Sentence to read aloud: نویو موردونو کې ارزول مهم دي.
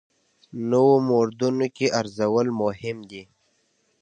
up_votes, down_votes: 2, 0